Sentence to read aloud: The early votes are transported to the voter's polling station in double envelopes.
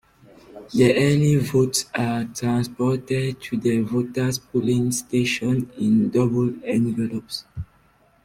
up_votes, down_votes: 2, 0